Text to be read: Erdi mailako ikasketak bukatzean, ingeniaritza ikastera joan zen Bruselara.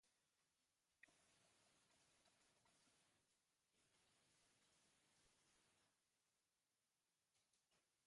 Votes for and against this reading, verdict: 0, 2, rejected